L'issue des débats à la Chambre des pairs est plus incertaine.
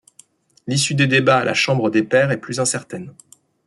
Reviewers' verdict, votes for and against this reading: accepted, 2, 0